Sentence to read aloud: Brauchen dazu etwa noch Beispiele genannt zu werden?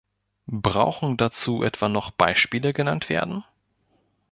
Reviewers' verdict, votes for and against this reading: rejected, 1, 2